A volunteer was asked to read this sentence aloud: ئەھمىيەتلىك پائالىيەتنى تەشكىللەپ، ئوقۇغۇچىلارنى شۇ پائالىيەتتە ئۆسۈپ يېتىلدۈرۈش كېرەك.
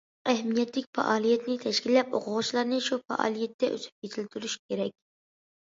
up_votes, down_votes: 2, 0